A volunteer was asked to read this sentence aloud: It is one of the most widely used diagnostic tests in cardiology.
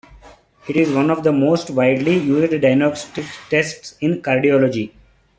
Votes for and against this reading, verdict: 0, 2, rejected